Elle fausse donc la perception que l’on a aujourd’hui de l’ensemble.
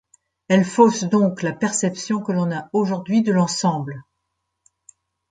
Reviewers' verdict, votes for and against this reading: accepted, 2, 0